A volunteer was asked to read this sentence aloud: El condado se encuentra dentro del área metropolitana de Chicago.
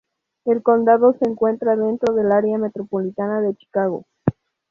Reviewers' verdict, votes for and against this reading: accepted, 2, 0